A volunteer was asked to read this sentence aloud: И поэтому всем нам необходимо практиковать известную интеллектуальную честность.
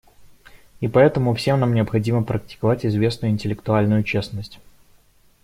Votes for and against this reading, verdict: 2, 0, accepted